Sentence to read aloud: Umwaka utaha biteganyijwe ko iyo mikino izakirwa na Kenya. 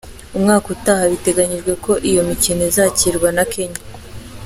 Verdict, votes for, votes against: accepted, 2, 0